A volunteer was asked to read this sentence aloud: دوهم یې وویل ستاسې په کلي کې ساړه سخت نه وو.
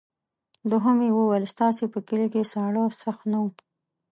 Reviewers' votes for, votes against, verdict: 2, 0, accepted